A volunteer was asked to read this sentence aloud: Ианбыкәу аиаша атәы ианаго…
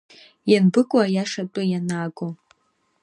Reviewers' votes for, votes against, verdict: 2, 0, accepted